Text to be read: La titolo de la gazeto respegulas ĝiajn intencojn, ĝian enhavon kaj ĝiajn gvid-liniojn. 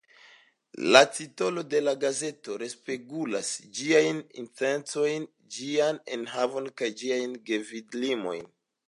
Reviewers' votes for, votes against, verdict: 0, 2, rejected